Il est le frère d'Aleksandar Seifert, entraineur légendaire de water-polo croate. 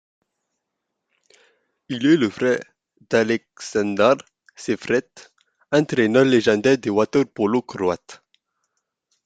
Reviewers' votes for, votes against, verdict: 2, 0, accepted